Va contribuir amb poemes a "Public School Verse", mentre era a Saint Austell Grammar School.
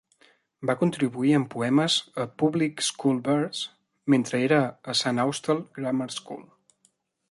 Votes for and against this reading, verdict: 2, 0, accepted